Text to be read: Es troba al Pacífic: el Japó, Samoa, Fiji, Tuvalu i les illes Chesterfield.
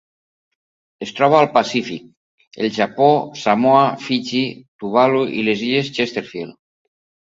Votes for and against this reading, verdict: 2, 0, accepted